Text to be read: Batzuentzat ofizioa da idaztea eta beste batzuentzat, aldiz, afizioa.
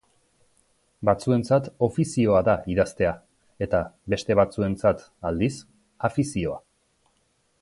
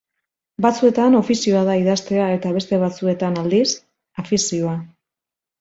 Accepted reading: first